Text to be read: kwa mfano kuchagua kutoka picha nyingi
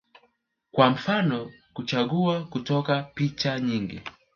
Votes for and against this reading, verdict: 5, 0, accepted